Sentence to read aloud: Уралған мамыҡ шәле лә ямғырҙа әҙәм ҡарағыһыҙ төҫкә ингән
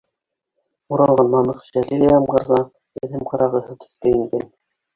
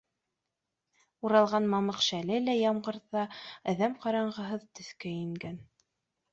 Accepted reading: second